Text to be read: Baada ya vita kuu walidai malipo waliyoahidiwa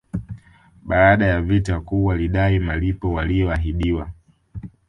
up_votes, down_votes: 4, 0